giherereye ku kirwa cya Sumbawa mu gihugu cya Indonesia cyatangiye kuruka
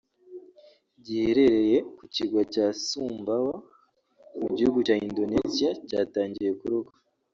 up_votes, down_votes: 0, 2